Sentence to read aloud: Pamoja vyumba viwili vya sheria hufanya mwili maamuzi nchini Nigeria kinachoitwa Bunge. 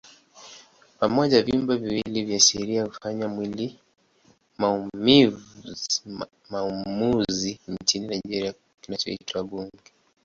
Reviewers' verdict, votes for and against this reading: rejected, 0, 2